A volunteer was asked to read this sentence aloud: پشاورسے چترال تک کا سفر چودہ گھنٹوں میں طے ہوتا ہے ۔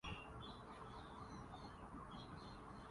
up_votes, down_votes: 2, 2